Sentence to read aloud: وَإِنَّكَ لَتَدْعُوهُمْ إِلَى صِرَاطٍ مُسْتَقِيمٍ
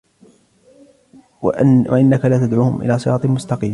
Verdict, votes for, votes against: accepted, 2, 1